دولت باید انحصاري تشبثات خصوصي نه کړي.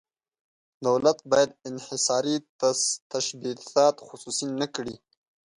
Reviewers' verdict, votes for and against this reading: rejected, 1, 2